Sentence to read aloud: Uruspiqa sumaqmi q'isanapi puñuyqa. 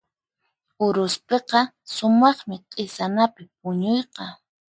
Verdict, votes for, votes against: accepted, 4, 0